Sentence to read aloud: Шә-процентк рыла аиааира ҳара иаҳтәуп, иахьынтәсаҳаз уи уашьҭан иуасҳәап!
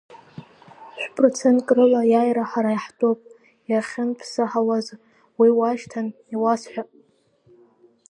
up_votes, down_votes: 2, 1